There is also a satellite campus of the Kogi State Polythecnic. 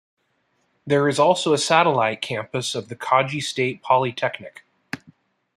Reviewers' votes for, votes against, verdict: 1, 2, rejected